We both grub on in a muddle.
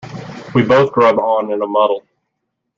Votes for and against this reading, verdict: 2, 0, accepted